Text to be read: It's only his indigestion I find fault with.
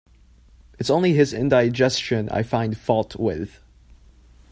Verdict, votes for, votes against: accepted, 2, 0